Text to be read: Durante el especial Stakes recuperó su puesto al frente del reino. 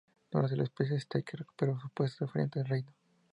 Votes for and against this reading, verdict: 0, 2, rejected